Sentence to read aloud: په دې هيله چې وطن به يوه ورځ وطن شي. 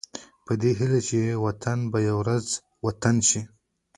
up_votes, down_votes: 0, 2